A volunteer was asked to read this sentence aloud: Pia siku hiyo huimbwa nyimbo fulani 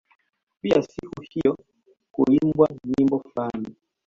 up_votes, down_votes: 1, 2